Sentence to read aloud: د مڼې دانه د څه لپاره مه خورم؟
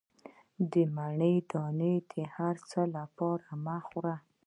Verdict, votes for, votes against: rejected, 0, 2